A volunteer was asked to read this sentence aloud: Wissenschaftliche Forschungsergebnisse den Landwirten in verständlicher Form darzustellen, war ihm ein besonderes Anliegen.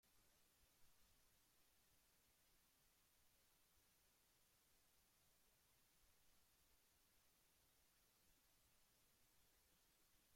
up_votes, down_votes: 0, 2